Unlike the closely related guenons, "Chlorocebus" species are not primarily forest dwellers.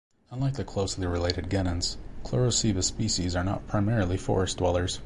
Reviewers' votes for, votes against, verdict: 3, 0, accepted